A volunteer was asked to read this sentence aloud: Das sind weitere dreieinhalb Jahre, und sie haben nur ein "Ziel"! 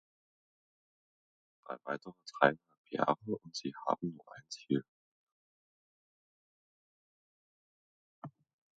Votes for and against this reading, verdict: 0, 2, rejected